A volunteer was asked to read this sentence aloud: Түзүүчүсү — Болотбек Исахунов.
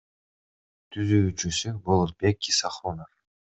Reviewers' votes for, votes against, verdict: 2, 0, accepted